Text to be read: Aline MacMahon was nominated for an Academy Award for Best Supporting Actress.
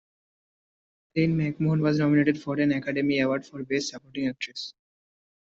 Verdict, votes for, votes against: accepted, 2, 0